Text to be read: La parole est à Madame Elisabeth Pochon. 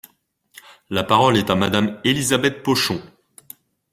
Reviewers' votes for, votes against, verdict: 2, 0, accepted